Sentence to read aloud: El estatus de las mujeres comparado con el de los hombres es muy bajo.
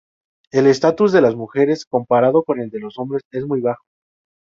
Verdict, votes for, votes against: accepted, 2, 0